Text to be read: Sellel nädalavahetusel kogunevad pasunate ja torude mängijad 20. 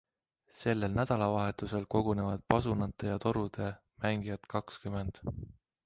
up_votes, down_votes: 0, 2